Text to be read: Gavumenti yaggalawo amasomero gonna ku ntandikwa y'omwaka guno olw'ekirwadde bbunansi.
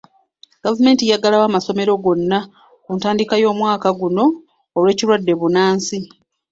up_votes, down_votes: 0, 2